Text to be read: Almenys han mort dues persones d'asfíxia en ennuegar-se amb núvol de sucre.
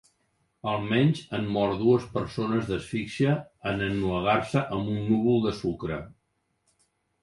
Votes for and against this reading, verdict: 1, 2, rejected